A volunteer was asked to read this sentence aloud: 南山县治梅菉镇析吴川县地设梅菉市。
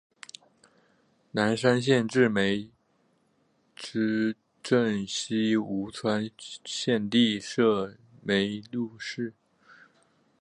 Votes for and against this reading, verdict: 4, 3, accepted